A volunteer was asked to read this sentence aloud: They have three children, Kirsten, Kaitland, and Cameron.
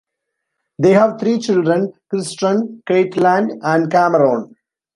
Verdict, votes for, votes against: rejected, 0, 2